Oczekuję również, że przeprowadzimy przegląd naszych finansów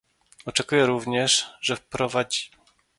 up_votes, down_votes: 0, 2